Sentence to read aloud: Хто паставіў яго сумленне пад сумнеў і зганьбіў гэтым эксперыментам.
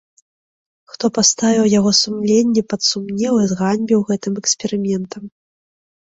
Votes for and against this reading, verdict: 3, 0, accepted